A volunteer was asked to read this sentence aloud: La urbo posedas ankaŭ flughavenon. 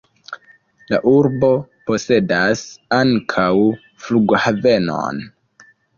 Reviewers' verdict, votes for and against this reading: accepted, 2, 0